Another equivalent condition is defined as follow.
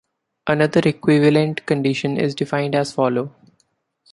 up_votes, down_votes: 2, 0